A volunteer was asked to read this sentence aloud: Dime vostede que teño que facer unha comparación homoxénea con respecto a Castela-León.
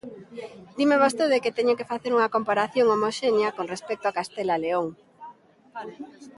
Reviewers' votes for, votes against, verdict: 0, 2, rejected